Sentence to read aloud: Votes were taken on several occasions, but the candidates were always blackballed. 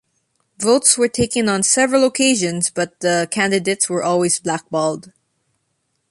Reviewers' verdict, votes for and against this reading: accepted, 2, 0